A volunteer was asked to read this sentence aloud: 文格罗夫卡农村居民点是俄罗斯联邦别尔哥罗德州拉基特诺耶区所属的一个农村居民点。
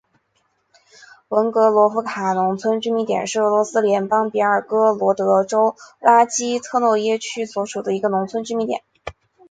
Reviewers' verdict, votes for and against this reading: accepted, 2, 0